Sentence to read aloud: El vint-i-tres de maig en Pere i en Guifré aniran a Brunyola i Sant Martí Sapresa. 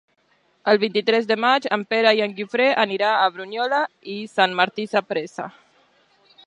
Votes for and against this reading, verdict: 0, 2, rejected